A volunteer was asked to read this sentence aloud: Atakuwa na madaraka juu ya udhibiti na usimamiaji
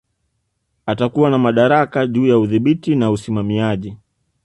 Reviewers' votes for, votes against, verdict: 1, 2, rejected